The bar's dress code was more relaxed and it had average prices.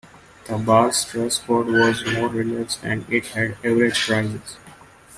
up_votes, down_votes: 0, 2